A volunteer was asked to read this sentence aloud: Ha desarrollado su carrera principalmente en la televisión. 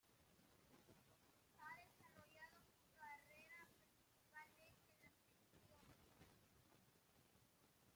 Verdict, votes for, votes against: rejected, 0, 2